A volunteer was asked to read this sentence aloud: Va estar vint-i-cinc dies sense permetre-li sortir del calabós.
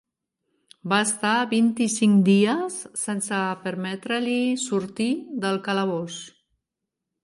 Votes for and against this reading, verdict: 3, 1, accepted